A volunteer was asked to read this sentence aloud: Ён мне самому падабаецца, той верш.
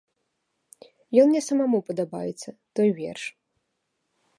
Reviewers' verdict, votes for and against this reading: rejected, 0, 2